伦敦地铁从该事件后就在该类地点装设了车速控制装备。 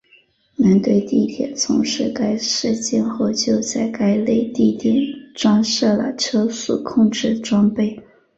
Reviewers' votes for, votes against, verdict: 0, 2, rejected